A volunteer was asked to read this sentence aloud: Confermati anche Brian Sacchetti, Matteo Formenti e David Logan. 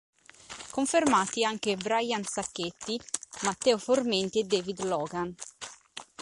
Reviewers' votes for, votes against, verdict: 2, 1, accepted